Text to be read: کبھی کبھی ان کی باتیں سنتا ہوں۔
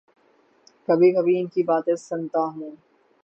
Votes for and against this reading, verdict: 3, 3, rejected